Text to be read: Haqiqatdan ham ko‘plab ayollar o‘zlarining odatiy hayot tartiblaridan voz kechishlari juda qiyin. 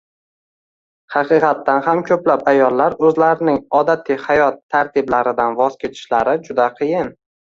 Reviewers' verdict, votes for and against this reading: accepted, 2, 0